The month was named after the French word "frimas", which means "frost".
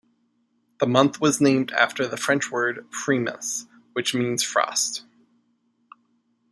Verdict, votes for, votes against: accepted, 2, 0